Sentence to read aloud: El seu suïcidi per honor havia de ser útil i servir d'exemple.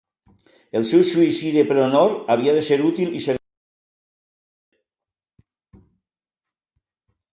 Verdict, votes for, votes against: rejected, 0, 2